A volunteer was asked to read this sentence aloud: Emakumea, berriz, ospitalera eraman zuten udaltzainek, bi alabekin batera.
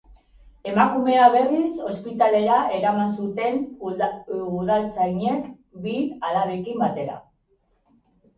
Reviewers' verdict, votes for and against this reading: rejected, 0, 2